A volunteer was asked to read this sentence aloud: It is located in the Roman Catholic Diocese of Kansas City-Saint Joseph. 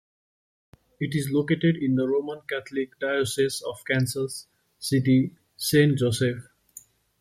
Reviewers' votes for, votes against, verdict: 2, 0, accepted